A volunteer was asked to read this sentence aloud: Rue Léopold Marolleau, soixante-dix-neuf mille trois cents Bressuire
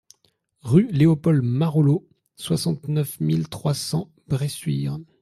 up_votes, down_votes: 0, 2